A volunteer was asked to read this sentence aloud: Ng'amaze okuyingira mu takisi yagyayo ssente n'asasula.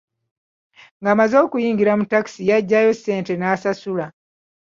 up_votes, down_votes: 2, 0